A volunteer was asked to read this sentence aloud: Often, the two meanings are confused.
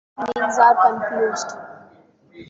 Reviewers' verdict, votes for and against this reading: rejected, 0, 2